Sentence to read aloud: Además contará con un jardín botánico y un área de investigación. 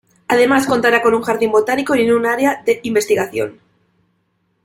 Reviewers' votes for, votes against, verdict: 1, 2, rejected